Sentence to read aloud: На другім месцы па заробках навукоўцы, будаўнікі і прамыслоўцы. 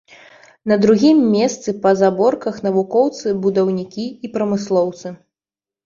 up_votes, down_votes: 1, 2